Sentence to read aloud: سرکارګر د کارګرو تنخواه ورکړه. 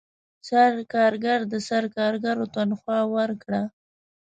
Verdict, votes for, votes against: rejected, 0, 2